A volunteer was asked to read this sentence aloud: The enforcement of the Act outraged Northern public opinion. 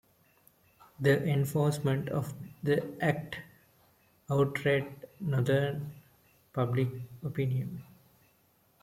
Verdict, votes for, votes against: rejected, 0, 2